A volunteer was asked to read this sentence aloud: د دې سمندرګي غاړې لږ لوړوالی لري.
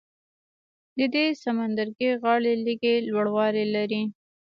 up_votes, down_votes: 0, 2